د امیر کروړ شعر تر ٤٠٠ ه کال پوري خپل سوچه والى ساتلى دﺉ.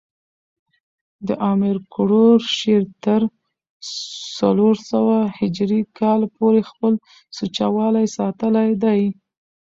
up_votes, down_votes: 0, 2